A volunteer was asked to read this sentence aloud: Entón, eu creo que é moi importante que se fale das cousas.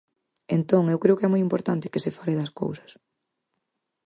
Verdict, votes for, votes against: accepted, 4, 0